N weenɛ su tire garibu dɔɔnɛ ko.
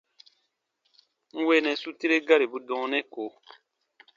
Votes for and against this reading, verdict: 2, 0, accepted